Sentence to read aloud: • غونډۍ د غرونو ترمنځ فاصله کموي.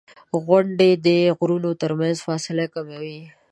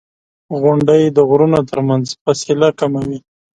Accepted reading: second